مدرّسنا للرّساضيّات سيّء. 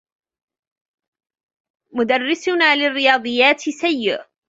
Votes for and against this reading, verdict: 0, 2, rejected